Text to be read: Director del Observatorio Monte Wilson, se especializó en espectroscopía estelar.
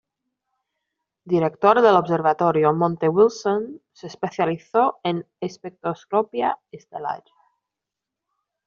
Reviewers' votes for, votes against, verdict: 0, 2, rejected